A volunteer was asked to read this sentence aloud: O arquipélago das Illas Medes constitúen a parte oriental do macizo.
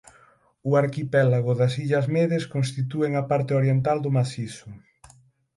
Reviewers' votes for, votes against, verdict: 6, 0, accepted